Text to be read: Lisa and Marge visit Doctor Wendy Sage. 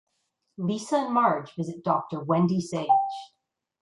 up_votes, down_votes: 2, 0